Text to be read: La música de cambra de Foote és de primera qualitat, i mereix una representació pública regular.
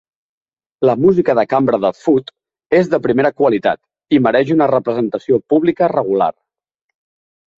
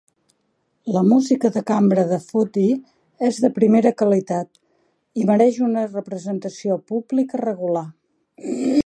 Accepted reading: first